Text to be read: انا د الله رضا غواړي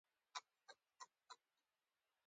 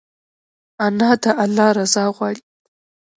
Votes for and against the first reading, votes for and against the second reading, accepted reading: 2, 1, 0, 2, first